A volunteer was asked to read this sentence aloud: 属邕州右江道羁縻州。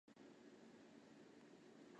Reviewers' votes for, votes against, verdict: 3, 2, accepted